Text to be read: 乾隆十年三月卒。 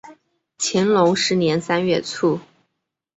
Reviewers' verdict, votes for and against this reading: accepted, 2, 0